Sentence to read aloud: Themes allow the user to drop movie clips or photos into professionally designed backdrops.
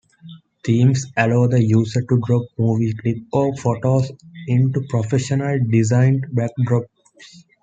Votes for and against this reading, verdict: 1, 2, rejected